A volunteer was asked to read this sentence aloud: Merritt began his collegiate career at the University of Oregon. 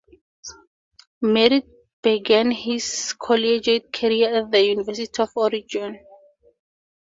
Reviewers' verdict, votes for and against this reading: rejected, 2, 2